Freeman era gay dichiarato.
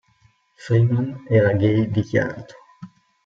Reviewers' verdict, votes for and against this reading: rejected, 1, 2